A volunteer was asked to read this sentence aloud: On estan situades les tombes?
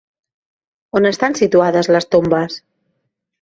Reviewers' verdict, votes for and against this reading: rejected, 1, 2